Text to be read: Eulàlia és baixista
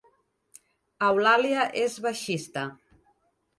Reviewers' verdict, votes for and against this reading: accepted, 3, 0